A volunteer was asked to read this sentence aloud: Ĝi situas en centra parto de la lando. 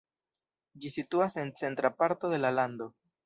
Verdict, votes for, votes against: rejected, 0, 2